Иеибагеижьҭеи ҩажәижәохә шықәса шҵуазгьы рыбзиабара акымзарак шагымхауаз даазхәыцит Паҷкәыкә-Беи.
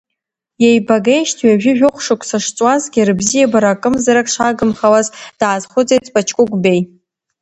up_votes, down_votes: 3, 1